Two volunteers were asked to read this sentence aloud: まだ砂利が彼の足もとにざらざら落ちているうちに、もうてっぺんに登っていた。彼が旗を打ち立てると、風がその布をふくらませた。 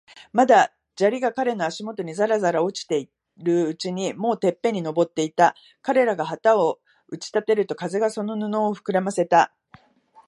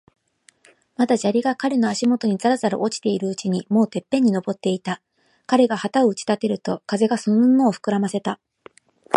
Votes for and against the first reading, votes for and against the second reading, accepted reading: 1, 3, 2, 0, second